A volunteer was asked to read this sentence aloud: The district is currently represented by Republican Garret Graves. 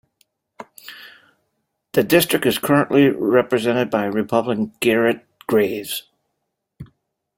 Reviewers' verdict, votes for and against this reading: accepted, 2, 0